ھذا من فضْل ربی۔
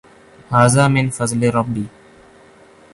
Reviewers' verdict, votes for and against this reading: accepted, 2, 1